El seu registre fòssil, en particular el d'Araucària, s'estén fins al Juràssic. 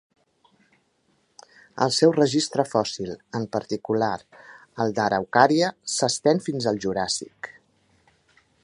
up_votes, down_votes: 3, 0